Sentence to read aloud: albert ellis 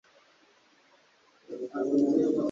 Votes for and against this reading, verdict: 0, 2, rejected